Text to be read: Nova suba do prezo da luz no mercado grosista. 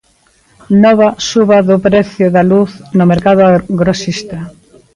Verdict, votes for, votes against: rejected, 0, 2